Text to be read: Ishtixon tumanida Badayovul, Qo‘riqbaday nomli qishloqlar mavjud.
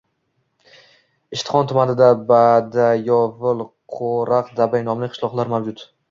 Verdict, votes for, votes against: accepted, 2, 0